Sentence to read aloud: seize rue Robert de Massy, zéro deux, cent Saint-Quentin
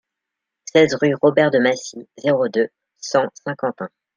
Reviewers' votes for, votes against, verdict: 2, 0, accepted